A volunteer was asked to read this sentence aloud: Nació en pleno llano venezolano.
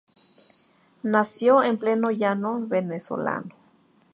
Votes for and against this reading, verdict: 2, 2, rejected